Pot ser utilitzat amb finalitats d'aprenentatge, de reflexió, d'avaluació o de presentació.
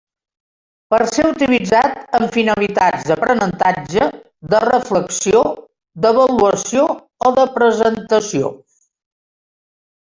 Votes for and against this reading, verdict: 2, 1, accepted